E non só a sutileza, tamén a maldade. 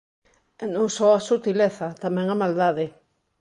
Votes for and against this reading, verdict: 2, 1, accepted